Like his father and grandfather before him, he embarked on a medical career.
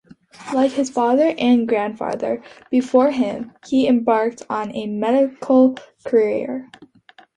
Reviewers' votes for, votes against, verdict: 2, 1, accepted